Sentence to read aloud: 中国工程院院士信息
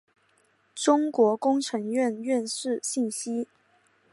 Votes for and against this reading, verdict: 4, 0, accepted